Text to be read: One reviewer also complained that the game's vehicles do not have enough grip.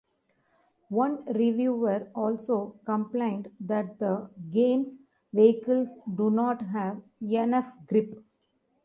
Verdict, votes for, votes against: accepted, 2, 0